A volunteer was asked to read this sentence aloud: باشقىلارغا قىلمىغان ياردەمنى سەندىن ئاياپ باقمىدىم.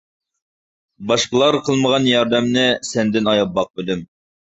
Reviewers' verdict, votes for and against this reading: accepted, 2, 0